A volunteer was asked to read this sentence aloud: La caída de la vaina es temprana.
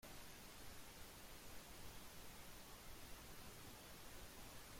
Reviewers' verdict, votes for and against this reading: rejected, 0, 2